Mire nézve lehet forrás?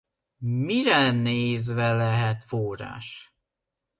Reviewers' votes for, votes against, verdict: 2, 0, accepted